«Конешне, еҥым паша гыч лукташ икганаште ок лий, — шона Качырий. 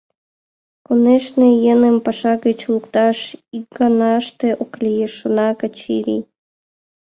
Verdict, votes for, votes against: accepted, 2, 0